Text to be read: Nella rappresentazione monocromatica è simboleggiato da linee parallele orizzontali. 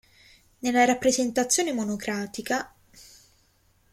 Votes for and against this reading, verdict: 0, 2, rejected